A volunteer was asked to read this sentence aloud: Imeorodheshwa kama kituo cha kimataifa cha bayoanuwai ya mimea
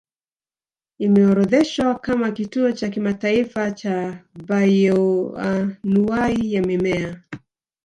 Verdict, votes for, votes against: rejected, 1, 2